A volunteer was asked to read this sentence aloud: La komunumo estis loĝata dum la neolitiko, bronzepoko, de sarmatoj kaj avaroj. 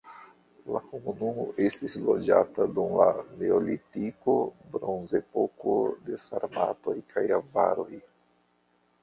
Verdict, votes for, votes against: rejected, 0, 2